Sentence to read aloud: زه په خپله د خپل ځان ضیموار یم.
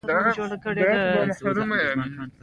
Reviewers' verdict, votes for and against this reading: rejected, 0, 2